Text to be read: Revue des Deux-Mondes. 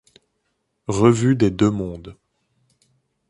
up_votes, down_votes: 2, 0